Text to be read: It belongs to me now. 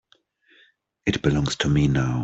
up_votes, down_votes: 3, 0